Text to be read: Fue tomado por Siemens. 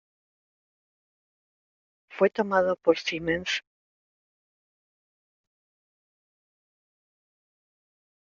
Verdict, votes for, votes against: rejected, 1, 2